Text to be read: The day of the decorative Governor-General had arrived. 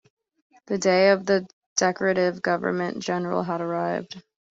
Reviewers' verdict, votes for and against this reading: rejected, 0, 2